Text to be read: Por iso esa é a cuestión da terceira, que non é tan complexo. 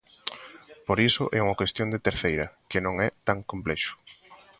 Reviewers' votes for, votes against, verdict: 0, 2, rejected